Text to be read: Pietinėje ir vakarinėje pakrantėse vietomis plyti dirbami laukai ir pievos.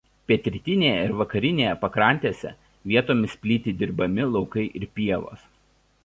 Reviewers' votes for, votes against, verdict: 0, 2, rejected